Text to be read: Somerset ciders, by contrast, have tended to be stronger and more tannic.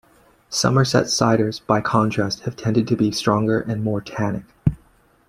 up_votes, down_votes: 2, 1